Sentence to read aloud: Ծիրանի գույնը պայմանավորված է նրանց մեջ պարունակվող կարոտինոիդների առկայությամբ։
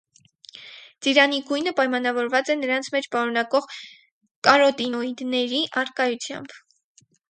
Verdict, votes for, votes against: accepted, 4, 0